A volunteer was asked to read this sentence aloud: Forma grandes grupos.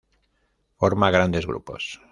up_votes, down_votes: 2, 0